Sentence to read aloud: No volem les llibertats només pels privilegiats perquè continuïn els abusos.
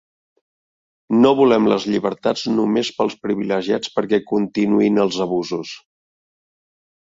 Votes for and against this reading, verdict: 2, 0, accepted